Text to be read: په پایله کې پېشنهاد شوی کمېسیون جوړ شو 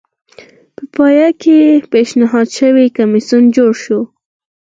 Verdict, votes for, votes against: rejected, 0, 4